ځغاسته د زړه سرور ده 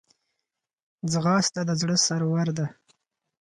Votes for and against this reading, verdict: 4, 0, accepted